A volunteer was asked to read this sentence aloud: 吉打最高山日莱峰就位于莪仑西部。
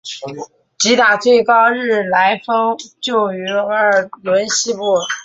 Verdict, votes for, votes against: rejected, 0, 3